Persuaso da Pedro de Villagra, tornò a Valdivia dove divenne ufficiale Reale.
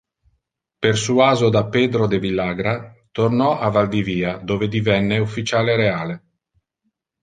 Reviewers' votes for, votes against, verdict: 3, 0, accepted